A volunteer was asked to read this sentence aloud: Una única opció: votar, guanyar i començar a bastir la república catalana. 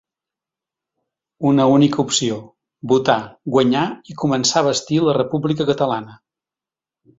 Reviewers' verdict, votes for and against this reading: accepted, 2, 0